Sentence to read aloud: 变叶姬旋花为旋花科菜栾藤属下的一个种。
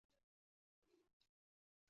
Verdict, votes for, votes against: rejected, 1, 2